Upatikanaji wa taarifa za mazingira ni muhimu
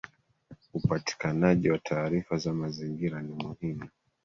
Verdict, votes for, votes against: accepted, 2, 1